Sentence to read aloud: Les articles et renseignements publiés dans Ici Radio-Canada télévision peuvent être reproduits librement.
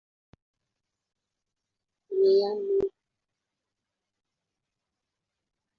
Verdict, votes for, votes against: rejected, 1, 2